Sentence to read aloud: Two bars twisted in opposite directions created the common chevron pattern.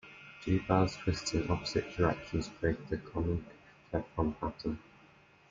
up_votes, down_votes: 1, 2